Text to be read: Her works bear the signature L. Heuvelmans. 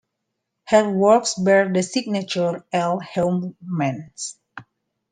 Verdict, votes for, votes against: accepted, 2, 1